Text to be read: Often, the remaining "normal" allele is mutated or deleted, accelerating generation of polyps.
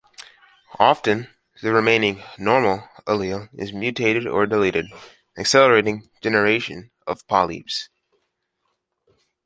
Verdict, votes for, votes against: accepted, 2, 1